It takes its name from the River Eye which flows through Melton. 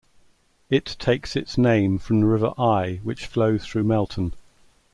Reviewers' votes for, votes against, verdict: 2, 0, accepted